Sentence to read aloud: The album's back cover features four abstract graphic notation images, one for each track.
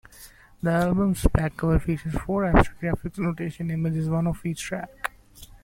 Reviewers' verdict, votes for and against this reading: rejected, 0, 2